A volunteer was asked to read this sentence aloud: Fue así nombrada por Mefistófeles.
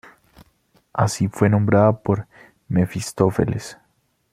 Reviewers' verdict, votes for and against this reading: rejected, 1, 3